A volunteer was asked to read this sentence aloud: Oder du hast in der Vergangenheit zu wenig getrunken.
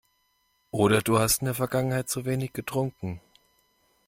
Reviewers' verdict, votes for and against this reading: accepted, 2, 0